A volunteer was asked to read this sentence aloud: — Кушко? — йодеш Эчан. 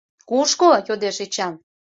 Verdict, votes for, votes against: accepted, 2, 0